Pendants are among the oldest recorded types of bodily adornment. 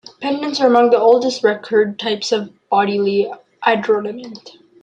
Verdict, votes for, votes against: rejected, 1, 2